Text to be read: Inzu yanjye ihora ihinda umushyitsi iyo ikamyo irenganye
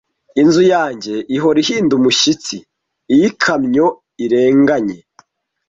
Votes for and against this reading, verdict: 2, 1, accepted